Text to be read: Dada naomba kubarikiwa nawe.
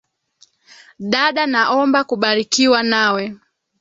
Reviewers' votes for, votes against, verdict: 1, 2, rejected